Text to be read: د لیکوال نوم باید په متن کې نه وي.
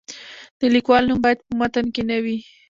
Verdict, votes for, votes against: accepted, 2, 0